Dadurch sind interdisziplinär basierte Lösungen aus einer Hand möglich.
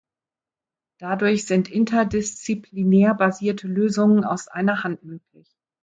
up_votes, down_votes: 0, 2